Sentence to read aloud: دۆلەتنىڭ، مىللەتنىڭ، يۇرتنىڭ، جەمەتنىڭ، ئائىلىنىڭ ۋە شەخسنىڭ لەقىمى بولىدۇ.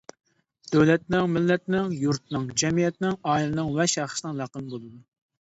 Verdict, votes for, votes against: rejected, 0, 2